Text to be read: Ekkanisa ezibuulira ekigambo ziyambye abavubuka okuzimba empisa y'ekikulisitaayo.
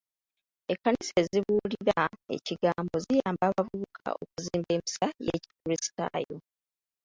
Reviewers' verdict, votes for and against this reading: rejected, 1, 3